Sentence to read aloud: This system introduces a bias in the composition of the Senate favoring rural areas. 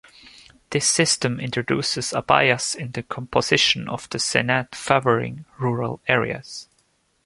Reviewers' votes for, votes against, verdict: 2, 0, accepted